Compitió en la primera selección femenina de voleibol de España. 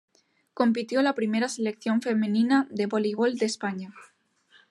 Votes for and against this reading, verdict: 1, 2, rejected